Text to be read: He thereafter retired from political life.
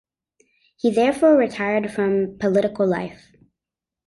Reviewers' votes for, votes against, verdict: 1, 2, rejected